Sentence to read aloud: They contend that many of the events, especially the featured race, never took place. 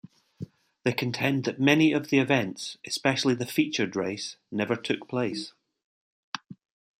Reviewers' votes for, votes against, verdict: 2, 0, accepted